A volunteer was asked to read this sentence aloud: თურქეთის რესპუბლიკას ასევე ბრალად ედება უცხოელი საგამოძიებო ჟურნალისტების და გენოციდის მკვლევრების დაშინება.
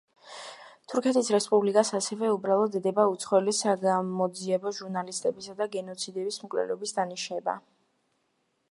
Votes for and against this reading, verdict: 0, 2, rejected